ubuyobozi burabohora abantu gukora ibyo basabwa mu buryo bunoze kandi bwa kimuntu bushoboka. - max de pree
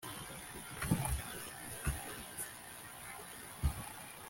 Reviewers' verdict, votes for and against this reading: rejected, 0, 2